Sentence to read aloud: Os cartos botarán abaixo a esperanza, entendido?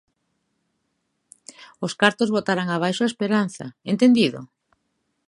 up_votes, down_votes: 2, 0